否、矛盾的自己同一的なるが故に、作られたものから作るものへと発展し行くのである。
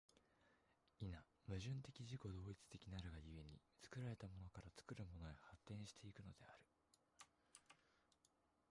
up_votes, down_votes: 1, 2